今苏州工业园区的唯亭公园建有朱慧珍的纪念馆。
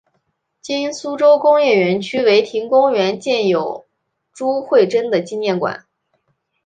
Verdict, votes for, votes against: accepted, 2, 0